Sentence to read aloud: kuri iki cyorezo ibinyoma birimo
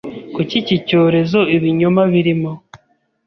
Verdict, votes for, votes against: rejected, 0, 2